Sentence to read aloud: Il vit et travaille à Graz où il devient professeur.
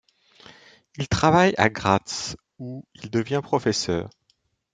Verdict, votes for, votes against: rejected, 1, 2